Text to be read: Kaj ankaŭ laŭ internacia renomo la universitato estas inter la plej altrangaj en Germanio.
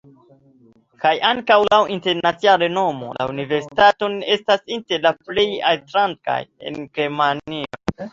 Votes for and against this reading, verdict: 2, 0, accepted